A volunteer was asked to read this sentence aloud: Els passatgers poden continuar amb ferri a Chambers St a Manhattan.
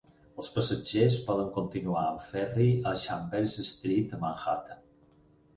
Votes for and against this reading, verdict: 4, 0, accepted